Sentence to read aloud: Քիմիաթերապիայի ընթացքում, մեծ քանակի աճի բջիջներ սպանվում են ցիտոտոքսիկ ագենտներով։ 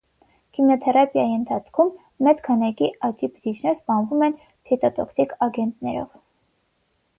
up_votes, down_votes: 3, 3